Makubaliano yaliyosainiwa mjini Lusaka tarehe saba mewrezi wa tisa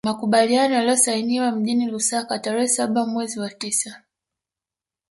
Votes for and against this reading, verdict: 2, 1, accepted